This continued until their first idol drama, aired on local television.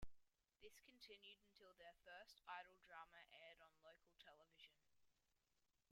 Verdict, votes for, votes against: rejected, 0, 2